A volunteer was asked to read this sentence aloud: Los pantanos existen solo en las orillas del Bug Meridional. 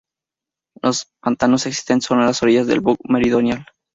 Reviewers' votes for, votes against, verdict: 2, 2, rejected